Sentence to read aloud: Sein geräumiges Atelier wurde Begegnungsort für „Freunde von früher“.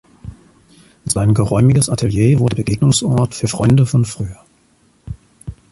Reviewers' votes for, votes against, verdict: 1, 2, rejected